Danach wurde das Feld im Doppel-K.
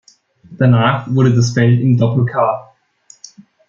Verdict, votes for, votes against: accepted, 2, 0